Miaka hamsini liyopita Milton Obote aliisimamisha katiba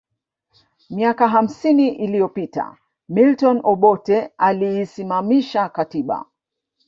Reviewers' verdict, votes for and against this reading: rejected, 2, 3